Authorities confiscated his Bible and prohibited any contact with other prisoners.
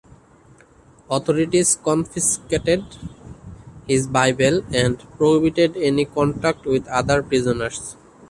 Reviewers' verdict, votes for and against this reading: accepted, 2, 1